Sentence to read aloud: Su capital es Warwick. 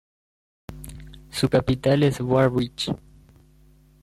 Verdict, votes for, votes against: rejected, 1, 2